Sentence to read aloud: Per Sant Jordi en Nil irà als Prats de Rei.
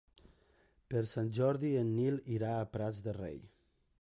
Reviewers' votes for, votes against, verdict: 3, 1, accepted